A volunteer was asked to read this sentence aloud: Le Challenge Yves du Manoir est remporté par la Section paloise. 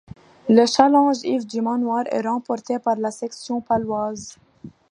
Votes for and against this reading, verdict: 2, 0, accepted